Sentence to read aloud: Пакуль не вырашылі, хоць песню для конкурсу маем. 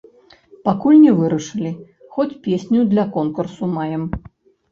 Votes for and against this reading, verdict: 1, 2, rejected